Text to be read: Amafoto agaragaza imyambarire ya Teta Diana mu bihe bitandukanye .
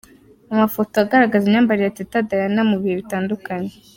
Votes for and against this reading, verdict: 2, 0, accepted